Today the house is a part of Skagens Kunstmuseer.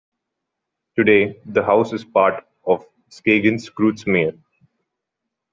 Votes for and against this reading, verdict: 0, 2, rejected